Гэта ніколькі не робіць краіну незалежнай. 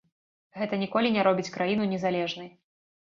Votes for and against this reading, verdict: 0, 2, rejected